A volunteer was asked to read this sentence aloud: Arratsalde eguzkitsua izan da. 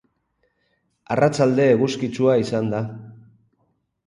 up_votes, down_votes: 2, 0